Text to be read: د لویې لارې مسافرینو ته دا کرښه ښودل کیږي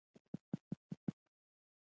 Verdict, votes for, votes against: accepted, 2, 1